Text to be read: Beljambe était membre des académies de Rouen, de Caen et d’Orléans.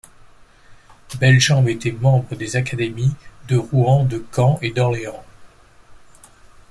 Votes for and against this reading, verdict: 2, 0, accepted